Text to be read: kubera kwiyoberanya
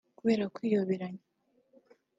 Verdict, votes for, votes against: rejected, 1, 2